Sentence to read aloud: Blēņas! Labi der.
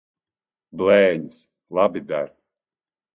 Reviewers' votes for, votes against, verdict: 2, 0, accepted